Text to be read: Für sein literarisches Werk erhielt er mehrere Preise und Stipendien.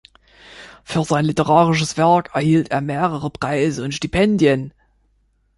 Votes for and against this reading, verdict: 2, 0, accepted